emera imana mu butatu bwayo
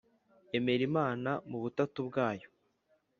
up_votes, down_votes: 4, 0